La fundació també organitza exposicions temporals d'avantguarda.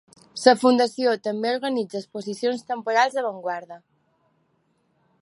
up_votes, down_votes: 2, 3